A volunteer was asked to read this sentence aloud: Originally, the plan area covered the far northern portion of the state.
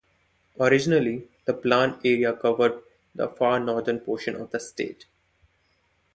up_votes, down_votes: 2, 0